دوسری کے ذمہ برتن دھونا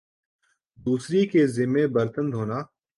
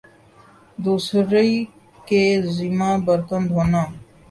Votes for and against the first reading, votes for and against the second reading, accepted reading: 3, 1, 0, 2, first